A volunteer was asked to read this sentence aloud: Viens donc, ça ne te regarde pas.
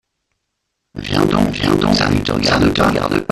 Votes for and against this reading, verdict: 0, 2, rejected